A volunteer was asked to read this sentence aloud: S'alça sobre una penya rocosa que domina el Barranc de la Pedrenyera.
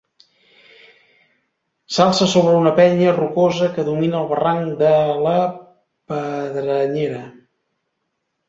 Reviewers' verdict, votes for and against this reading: rejected, 1, 2